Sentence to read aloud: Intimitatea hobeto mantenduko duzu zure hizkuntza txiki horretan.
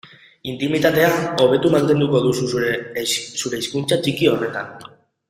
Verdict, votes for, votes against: rejected, 2, 2